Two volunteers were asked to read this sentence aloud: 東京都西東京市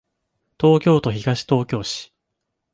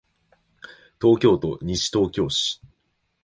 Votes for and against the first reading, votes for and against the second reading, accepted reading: 1, 2, 4, 0, second